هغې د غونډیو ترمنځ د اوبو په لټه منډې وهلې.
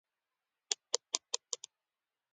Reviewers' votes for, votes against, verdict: 1, 2, rejected